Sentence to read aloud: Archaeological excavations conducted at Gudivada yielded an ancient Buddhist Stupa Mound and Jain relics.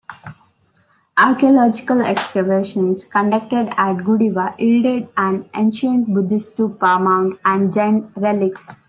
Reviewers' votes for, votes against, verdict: 2, 1, accepted